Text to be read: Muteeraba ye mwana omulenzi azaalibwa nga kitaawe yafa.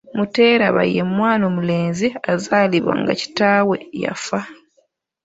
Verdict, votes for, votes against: accepted, 2, 1